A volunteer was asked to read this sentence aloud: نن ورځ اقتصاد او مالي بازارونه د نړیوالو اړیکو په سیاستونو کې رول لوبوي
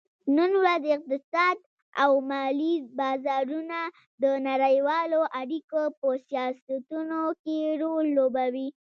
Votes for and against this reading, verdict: 2, 0, accepted